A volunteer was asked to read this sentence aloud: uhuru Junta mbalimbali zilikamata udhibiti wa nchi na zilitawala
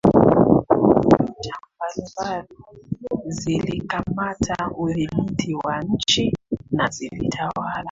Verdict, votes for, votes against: rejected, 0, 2